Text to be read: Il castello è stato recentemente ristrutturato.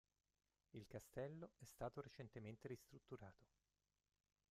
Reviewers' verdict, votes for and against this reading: rejected, 0, 2